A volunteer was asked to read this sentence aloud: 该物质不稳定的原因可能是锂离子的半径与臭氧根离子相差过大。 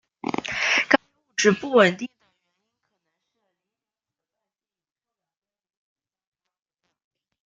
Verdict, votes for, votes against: rejected, 0, 2